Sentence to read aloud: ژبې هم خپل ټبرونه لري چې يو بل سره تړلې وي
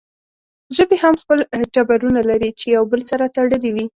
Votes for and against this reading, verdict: 2, 0, accepted